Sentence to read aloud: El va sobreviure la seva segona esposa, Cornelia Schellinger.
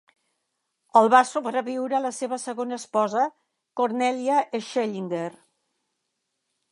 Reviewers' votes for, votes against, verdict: 2, 0, accepted